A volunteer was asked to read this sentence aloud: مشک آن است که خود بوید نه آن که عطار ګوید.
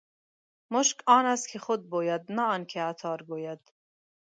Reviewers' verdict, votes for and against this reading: accepted, 2, 0